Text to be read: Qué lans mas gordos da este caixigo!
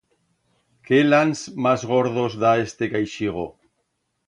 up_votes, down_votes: 2, 0